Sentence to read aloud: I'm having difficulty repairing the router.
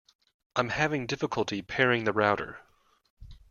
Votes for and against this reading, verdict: 0, 2, rejected